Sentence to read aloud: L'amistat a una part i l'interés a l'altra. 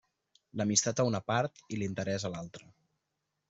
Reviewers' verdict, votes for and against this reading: accepted, 2, 0